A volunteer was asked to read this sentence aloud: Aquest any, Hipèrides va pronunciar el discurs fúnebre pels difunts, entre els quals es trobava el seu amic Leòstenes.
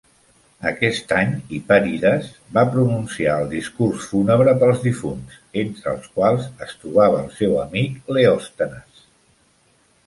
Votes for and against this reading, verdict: 2, 0, accepted